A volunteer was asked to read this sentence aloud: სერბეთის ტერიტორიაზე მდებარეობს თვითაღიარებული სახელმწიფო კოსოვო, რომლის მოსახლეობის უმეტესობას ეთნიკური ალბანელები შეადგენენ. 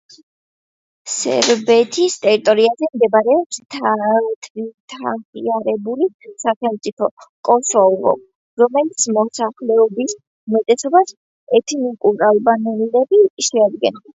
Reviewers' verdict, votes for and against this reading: rejected, 0, 2